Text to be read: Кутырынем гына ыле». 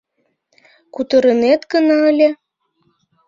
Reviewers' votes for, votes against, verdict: 0, 2, rejected